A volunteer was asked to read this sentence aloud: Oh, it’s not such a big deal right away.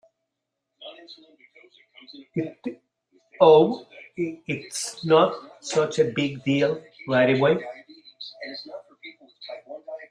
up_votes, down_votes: 1, 2